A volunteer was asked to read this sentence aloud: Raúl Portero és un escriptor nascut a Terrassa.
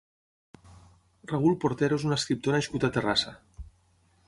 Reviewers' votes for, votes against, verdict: 0, 3, rejected